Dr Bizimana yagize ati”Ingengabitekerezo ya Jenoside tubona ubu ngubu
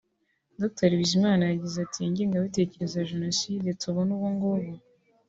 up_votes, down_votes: 2, 0